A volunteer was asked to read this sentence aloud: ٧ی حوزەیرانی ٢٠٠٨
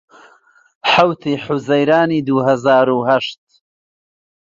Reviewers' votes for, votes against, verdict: 0, 2, rejected